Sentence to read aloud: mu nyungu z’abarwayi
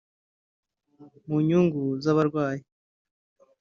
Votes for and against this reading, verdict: 1, 2, rejected